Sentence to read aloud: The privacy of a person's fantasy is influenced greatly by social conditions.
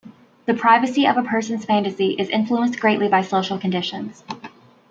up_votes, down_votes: 2, 0